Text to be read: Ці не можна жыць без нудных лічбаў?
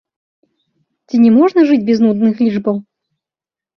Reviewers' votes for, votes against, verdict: 2, 1, accepted